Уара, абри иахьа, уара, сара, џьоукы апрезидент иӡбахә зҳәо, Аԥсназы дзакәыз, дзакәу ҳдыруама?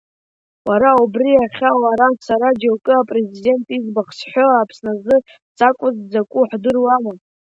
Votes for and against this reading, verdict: 2, 1, accepted